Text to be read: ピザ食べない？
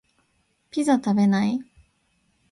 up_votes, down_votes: 2, 0